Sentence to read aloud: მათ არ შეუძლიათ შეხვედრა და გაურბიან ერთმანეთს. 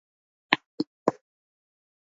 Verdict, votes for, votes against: rejected, 0, 2